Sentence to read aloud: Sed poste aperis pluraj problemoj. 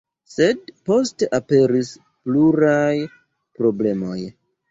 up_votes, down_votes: 2, 0